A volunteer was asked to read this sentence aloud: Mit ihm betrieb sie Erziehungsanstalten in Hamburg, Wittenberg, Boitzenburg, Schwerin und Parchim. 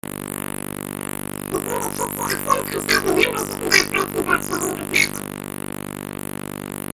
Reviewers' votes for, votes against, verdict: 0, 2, rejected